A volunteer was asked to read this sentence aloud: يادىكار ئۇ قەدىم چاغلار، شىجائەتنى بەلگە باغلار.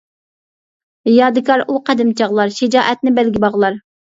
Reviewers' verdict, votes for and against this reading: accepted, 2, 0